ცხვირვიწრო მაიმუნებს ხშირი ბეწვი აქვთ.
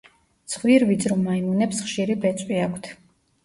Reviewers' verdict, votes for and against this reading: accepted, 2, 0